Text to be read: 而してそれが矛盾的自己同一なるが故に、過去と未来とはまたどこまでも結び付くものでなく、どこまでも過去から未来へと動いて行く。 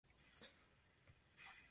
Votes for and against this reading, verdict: 0, 2, rejected